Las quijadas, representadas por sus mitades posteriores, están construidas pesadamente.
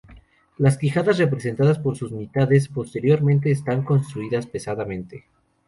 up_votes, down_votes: 0, 2